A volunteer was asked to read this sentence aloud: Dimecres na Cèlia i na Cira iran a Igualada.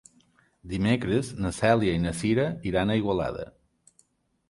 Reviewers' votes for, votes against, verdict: 3, 0, accepted